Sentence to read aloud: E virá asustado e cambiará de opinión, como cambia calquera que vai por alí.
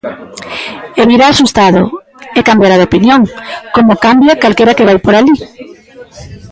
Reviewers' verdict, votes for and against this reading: rejected, 2, 3